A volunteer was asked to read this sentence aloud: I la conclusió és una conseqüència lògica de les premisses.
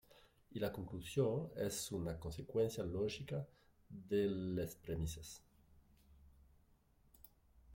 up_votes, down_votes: 1, 2